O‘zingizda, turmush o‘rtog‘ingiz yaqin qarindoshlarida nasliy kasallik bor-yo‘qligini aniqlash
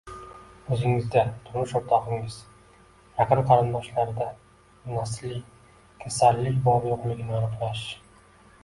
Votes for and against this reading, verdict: 2, 0, accepted